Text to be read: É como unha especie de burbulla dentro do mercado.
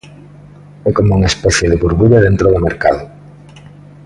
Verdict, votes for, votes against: accepted, 2, 0